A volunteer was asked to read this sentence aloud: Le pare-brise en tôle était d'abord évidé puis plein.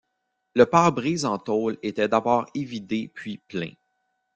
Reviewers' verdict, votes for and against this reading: rejected, 1, 2